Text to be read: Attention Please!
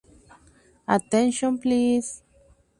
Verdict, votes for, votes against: accepted, 2, 0